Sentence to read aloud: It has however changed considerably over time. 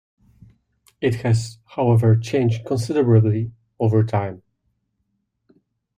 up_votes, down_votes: 2, 0